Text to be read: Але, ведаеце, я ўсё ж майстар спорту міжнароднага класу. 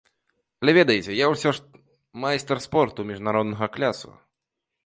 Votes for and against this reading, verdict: 1, 2, rejected